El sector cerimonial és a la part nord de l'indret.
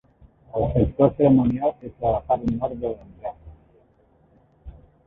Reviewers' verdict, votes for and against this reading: rejected, 0, 2